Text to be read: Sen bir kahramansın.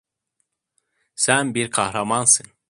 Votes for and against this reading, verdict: 2, 0, accepted